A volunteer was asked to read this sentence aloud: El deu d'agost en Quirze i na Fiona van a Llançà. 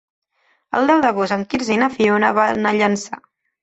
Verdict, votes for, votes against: rejected, 1, 2